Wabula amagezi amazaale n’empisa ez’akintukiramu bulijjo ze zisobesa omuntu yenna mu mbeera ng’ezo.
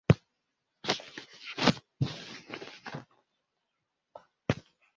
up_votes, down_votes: 0, 2